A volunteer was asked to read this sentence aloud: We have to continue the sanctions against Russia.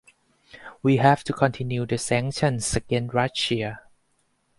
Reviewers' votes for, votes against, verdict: 4, 2, accepted